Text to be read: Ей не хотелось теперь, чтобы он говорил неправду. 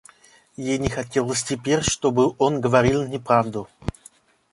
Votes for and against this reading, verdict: 2, 0, accepted